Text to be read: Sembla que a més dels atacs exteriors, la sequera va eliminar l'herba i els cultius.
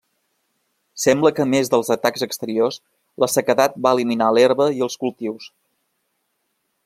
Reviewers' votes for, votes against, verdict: 0, 2, rejected